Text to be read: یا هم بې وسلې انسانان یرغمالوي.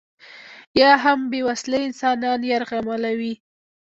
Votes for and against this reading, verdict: 0, 2, rejected